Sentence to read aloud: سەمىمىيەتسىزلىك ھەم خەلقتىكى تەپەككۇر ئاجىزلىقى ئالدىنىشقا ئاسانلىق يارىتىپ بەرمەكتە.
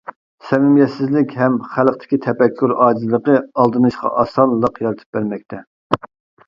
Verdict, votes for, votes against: accepted, 2, 0